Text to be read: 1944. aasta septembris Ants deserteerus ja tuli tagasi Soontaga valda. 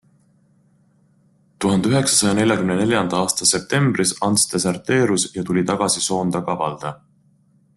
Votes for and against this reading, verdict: 0, 2, rejected